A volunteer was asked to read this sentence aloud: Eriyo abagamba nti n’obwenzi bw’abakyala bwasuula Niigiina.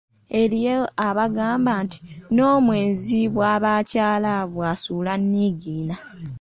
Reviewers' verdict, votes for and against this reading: rejected, 0, 2